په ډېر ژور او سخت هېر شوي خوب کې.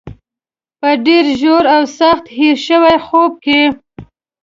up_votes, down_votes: 1, 2